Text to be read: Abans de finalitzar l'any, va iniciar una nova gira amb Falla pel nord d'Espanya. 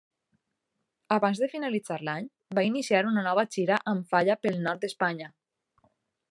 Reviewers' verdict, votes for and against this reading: accepted, 3, 0